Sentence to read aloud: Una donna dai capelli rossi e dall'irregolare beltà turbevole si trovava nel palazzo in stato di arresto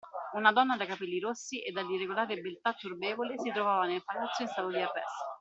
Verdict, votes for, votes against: rejected, 0, 2